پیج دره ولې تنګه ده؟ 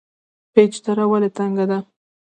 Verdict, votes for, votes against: accepted, 2, 0